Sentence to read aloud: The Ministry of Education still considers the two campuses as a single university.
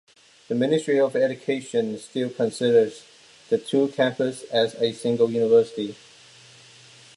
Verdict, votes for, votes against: accepted, 2, 0